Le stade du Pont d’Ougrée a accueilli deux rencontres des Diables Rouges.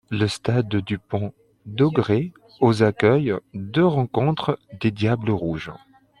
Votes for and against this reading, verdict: 0, 2, rejected